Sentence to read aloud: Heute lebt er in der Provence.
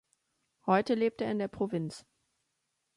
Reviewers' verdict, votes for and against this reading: rejected, 0, 2